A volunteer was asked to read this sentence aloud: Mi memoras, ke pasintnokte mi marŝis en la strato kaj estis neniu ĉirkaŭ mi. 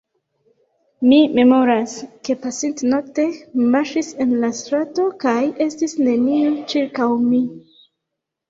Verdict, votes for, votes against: rejected, 1, 2